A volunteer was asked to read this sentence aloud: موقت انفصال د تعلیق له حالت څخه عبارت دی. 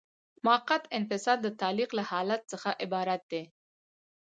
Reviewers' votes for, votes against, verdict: 2, 0, accepted